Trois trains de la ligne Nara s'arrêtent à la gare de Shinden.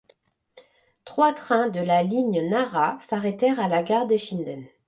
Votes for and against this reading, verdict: 1, 2, rejected